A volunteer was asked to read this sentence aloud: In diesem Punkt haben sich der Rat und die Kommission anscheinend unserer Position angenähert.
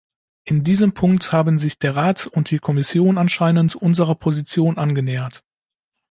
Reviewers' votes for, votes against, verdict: 2, 0, accepted